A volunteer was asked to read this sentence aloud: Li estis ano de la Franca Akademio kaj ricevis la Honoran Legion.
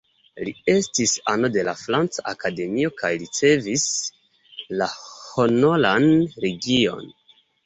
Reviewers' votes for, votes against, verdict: 0, 3, rejected